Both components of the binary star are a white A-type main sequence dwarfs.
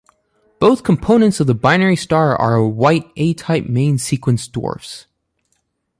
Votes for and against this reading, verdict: 1, 2, rejected